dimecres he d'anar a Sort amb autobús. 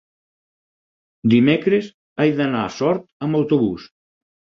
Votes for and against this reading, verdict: 2, 4, rejected